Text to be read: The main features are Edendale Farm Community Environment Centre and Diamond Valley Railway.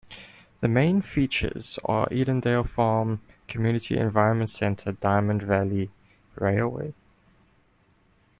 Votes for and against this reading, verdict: 1, 2, rejected